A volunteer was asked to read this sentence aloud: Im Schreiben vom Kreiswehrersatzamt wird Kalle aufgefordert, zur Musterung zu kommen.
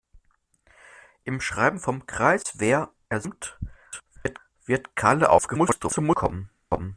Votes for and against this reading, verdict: 0, 2, rejected